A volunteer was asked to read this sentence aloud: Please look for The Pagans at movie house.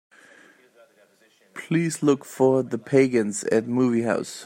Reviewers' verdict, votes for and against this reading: accepted, 2, 0